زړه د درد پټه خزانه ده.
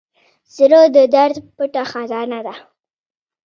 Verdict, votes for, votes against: rejected, 0, 2